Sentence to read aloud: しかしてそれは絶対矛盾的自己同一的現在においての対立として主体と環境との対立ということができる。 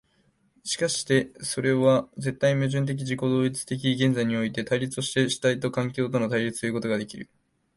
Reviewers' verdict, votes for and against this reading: accepted, 2, 1